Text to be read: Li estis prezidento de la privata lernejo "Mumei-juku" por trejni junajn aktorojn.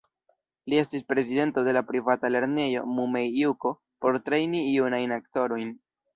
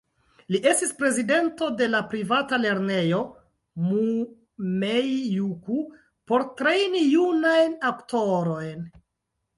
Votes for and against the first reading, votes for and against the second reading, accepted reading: 1, 2, 2, 0, second